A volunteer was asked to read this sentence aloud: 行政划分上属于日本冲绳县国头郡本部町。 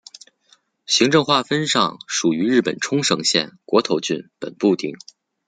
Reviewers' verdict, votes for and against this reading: accepted, 2, 0